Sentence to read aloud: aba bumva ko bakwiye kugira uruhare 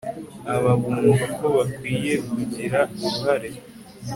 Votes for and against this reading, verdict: 4, 0, accepted